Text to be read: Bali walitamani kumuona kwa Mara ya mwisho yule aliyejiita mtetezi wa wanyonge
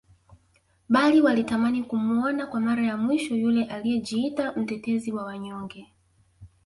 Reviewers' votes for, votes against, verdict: 1, 2, rejected